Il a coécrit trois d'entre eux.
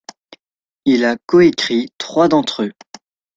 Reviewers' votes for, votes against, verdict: 2, 0, accepted